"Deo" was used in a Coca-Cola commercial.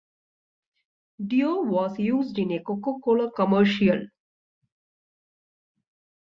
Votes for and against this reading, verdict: 2, 0, accepted